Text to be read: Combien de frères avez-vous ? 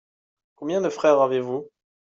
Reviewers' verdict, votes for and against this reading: accepted, 2, 0